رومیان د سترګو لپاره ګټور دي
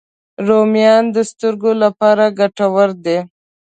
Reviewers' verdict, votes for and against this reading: accepted, 3, 0